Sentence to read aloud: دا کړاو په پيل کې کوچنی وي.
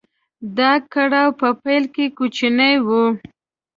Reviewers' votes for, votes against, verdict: 1, 2, rejected